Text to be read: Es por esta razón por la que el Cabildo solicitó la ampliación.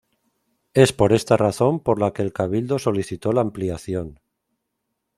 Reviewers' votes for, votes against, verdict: 2, 0, accepted